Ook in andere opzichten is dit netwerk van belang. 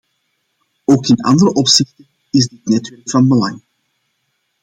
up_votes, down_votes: 0, 2